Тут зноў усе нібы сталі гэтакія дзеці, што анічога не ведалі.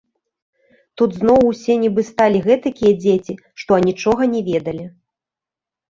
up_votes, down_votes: 3, 0